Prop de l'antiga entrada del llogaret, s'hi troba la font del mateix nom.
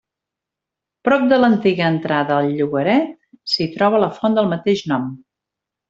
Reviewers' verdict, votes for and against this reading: rejected, 0, 2